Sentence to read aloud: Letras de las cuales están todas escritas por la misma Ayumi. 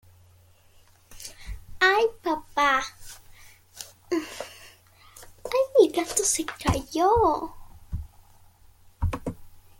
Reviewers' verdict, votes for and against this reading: rejected, 0, 2